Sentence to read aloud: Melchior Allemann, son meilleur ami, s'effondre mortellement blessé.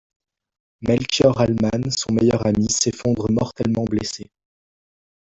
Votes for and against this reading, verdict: 0, 2, rejected